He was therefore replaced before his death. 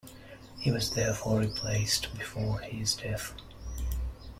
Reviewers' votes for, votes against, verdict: 0, 2, rejected